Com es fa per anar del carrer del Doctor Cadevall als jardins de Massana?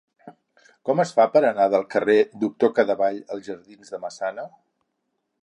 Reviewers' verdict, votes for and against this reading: rejected, 0, 4